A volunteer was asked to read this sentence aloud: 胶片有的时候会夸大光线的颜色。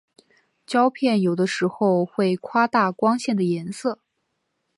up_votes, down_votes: 3, 1